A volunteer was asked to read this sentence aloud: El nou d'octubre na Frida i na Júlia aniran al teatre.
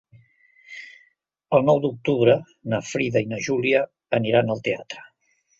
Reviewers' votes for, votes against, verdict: 3, 0, accepted